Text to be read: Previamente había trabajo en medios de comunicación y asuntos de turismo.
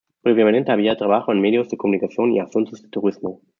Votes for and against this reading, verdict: 0, 2, rejected